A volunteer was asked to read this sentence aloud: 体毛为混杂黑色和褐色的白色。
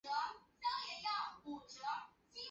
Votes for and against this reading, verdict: 0, 2, rejected